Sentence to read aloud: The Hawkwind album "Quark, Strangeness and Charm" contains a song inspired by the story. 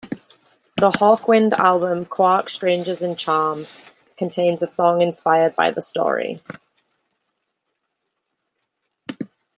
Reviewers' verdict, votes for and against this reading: accepted, 2, 1